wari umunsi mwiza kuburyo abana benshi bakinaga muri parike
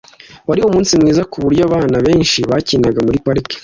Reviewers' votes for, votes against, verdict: 2, 0, accepted